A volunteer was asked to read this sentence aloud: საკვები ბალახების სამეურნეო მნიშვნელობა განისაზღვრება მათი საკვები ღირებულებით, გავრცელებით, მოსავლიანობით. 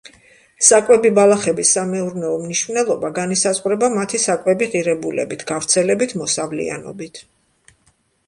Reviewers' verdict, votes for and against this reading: accepted, 2, 0